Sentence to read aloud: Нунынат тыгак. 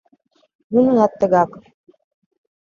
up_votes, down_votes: 2, 0